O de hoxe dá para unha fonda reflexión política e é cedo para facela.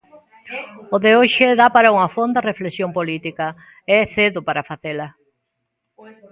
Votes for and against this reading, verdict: 1, 2, rejected